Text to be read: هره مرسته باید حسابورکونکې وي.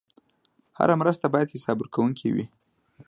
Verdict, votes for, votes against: accepted, 2, 0